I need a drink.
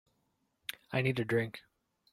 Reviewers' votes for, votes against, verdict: 3, 0, accepted